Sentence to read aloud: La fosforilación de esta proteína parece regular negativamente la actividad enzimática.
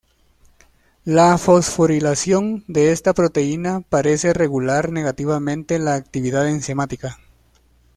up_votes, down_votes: 2, 0